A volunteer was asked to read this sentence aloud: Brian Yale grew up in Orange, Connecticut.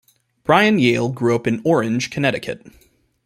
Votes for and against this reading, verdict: 1, 2, rejected